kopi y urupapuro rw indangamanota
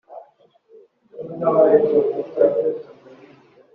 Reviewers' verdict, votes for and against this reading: rejected, 0, 2